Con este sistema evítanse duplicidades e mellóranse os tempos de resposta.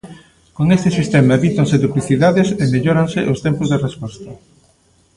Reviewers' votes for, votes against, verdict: 1, 2, rejected